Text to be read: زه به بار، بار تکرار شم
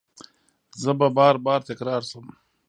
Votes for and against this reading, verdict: 1, 2, rejected